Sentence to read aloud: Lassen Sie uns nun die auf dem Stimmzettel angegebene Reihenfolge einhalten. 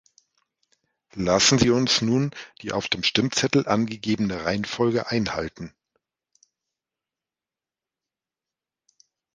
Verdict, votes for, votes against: accepted, 2, 0